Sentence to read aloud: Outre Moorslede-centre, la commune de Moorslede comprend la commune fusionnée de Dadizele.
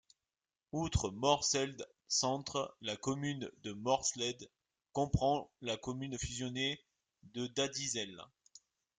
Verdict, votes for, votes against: rejected, 0, 2